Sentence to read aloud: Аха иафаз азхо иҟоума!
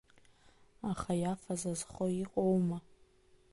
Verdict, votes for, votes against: rejected, 1, 2